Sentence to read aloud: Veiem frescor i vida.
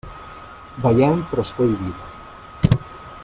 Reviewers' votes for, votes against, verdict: 1, 2, rejected